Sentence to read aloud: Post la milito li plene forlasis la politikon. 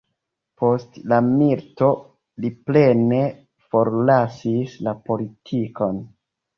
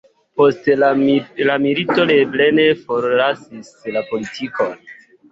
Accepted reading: second